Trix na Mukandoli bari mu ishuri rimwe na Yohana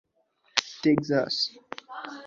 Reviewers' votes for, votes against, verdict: 1, 2, rejected